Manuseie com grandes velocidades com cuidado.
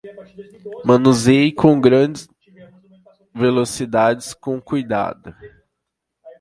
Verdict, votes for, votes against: rejected, 0, 2